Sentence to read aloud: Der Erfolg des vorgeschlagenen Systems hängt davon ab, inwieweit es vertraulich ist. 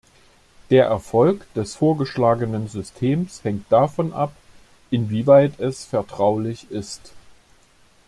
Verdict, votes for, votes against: accepted, 2, 0